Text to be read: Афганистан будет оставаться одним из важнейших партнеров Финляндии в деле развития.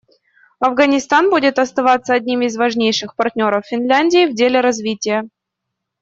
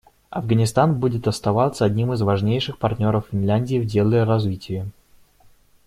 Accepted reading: first